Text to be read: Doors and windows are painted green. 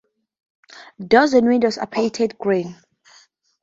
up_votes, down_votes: 4, 0